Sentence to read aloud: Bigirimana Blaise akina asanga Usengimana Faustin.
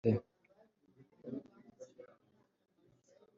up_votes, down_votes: 1, 2